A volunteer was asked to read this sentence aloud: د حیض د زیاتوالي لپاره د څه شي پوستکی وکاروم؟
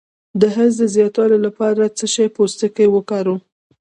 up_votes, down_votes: 0, 2